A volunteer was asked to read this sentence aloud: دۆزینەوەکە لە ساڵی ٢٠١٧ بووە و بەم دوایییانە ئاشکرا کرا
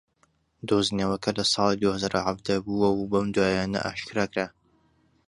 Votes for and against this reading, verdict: 0, 2, rejected